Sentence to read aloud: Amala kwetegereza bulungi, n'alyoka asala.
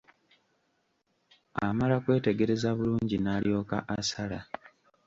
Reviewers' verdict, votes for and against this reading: rejected, 0, 2